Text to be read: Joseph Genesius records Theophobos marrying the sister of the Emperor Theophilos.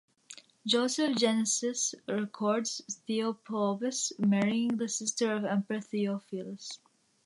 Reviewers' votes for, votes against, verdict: 2, 0, accepted